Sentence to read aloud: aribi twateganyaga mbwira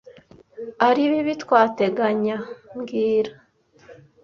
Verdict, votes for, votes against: rejected, 0, 2